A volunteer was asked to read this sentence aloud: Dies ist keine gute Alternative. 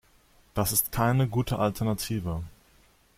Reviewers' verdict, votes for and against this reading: rejected, 1, 2